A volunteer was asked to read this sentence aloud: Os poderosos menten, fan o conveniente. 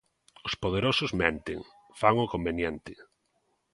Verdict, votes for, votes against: accepted, 2, 0